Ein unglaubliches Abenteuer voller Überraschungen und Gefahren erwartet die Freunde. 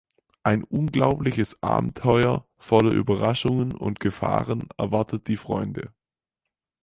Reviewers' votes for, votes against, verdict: 6, 0, accepted